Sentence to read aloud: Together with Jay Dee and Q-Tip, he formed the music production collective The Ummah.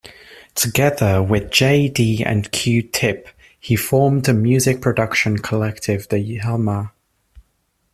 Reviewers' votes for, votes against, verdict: 1, 2, rejected